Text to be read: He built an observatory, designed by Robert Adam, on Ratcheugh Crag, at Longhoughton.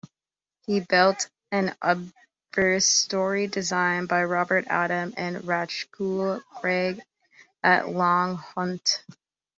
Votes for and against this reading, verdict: 0, 2, rejected